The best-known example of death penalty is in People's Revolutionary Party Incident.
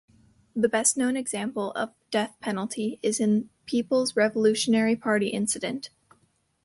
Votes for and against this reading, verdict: 2, 0, accepted